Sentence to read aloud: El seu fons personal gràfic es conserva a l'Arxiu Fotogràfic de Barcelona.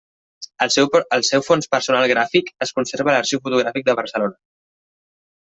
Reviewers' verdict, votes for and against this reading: rejected, 0, 2